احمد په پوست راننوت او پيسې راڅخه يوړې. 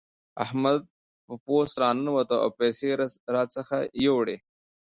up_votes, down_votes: 2, 0